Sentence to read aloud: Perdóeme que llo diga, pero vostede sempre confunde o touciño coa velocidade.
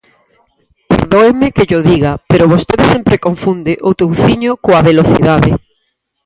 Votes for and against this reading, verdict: 2, 4, rejected